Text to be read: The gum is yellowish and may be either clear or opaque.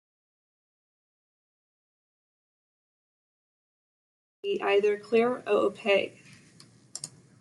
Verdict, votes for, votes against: rejected, 0, 2